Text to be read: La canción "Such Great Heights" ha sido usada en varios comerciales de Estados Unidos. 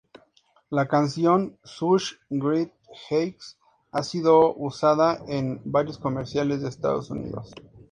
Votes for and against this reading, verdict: 2, 0, accepted